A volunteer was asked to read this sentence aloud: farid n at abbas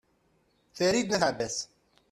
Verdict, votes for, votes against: accepted, 2, 1